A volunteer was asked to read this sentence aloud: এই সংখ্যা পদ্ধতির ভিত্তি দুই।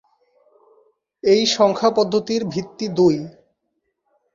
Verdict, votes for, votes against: accepted, 2, 0